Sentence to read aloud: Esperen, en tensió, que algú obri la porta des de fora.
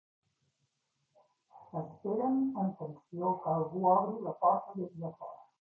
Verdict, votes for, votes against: rejected, 1, 2